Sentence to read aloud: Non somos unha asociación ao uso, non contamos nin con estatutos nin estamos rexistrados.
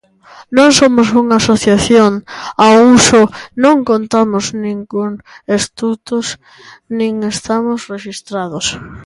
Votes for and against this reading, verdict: 0, 2, rejected